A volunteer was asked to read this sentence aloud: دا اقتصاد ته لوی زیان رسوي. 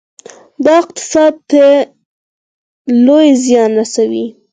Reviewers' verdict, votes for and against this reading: accepted, 4, 0